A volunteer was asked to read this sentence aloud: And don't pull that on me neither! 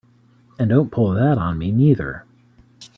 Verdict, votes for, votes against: accepted, 2, 0